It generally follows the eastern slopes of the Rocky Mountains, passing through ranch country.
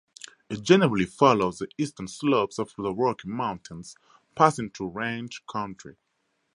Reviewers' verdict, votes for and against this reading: accepted, 4, 0